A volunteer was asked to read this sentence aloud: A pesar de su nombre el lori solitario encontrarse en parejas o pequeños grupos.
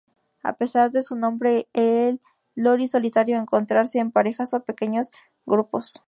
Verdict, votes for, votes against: accepted, 2, 0